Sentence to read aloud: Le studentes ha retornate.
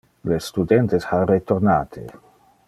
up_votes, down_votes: 2, 0